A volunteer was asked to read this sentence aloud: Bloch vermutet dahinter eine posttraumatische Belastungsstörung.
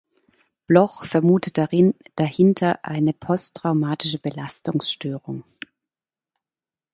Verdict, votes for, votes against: rejected, 0, 2